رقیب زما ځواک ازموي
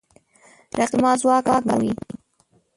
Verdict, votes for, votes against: rejected, 0, 2